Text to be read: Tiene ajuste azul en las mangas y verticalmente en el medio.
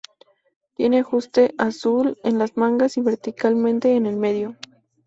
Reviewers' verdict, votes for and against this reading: accepted, 2, 0